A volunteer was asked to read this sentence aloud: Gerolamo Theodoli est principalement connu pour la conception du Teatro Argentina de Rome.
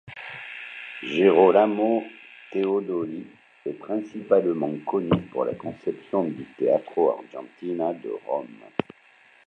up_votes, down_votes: 2, 0